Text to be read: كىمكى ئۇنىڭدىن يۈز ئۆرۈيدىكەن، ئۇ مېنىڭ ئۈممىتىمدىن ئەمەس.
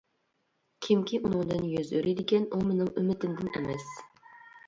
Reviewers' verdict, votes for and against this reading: accepted, 2, 0